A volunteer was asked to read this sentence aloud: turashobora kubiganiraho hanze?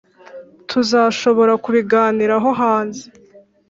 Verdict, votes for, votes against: rejected, 1, 2